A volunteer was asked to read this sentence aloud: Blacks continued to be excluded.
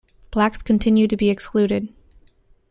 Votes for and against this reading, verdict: 2, 0, accepted